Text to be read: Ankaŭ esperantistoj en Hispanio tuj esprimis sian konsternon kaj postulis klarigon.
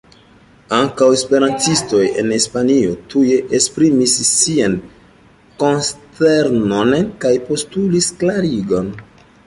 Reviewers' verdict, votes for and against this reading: rejected, 0, 2